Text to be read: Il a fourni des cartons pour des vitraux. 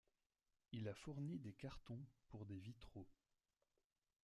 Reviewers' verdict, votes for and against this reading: rejected, 0, 2